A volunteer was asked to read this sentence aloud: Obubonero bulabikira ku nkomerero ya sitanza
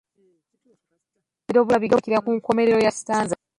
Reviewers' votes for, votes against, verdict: 0, 2, rejected